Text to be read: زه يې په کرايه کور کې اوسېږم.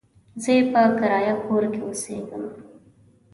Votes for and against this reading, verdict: 2, 0, accepted